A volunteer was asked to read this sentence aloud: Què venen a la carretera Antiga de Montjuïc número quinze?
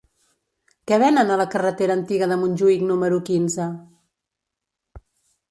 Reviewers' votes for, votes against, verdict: 2, 0, accepted